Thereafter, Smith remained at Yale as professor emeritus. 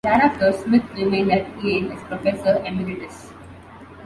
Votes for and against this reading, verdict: 2, 0, accepted